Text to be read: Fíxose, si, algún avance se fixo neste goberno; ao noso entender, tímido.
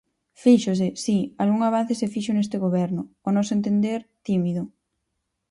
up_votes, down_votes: 4, 0